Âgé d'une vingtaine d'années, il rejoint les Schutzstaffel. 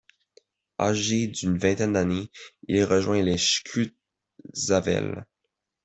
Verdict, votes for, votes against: rejected, 0, 2